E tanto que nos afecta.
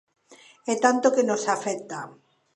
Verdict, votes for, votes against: accepted, 2, 0